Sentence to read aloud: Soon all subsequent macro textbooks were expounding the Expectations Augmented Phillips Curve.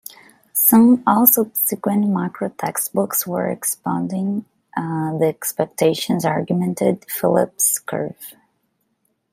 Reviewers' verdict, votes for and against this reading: rejected, 0, 2